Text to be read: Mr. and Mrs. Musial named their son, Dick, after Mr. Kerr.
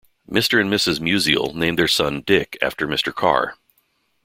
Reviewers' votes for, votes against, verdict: 1, 2, rejected